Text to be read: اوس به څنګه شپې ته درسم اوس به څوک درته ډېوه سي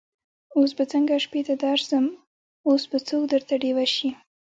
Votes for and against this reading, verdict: 2, 0, accepted